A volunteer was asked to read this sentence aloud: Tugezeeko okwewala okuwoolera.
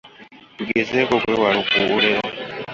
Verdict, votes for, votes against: rejected, 1, 2